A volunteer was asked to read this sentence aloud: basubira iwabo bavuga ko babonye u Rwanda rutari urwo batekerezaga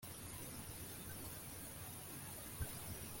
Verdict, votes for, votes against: rejected, 0, 2